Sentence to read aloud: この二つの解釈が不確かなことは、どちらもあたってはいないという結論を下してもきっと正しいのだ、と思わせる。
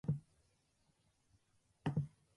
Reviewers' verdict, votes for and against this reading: rejected, 0, 3